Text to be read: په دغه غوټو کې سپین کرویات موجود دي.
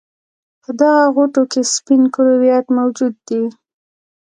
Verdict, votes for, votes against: accepted, 2, 1